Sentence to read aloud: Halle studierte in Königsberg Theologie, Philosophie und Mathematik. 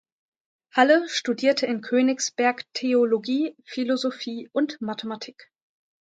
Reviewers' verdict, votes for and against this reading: accepted, 2, 0